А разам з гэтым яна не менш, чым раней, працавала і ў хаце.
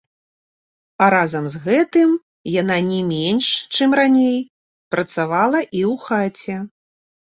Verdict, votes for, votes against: accepted, 2, 0